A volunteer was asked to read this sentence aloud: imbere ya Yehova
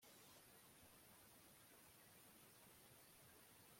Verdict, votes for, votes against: rejected, 0, 2